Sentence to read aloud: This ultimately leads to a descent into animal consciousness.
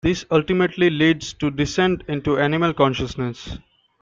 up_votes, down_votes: 1, 2